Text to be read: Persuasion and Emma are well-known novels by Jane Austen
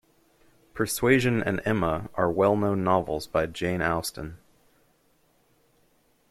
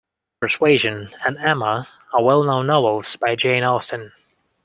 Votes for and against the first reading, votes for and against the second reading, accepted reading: 1, 2, 2, 0, second